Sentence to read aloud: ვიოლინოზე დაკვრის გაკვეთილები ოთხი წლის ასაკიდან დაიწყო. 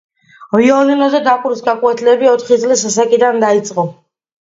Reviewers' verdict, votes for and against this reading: accepted, 2, 0